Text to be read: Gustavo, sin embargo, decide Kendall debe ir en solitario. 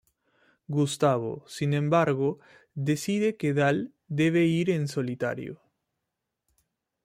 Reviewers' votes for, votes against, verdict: 2, 0, accepted